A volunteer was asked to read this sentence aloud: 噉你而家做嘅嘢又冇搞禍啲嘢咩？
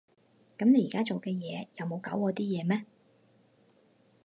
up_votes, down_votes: 4, 0